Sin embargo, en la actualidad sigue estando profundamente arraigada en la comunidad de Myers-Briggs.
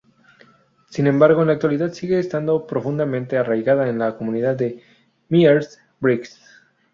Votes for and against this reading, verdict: 0, 2, rejected